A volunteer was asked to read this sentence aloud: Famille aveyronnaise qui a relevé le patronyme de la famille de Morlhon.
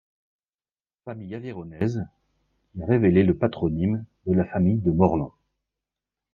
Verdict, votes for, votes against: rejected, 0, 2